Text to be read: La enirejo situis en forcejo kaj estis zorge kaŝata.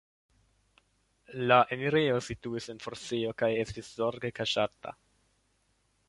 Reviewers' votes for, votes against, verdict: 1, 2, rejected